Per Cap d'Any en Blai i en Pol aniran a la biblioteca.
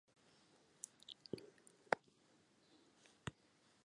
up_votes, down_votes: 1, 2